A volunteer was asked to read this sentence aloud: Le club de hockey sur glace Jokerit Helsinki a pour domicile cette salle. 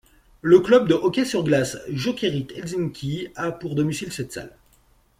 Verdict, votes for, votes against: accepted, 2, 0